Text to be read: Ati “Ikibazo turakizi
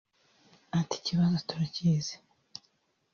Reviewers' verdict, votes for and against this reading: accepted, 3, 0